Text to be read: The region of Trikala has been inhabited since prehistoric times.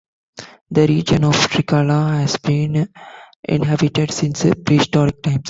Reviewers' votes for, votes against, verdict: 2, 1, accepted